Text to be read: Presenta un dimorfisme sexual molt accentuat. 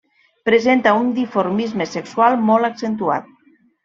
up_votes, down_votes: 1, 2